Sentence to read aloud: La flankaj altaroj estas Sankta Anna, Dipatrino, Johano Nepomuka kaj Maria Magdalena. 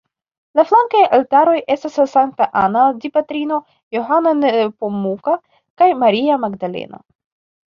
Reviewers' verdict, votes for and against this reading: accepted, 2, 1